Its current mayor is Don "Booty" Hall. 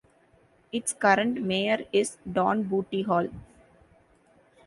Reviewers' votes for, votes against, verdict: 2, 0, accepted